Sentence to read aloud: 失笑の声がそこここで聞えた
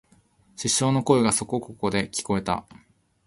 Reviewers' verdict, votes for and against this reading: accepted, 13, 1